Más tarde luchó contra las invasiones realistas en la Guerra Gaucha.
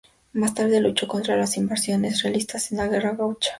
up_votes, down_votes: 2, 2